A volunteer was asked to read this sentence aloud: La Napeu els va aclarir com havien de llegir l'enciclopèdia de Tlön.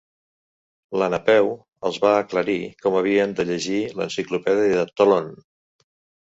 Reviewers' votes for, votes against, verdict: 3, 0, accepted